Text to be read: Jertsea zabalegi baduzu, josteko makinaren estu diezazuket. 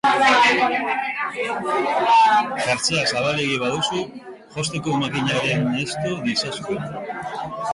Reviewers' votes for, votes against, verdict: 2, 1, accepted